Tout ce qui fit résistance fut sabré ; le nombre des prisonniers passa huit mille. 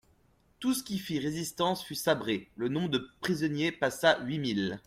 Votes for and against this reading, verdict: 1, 2, rejected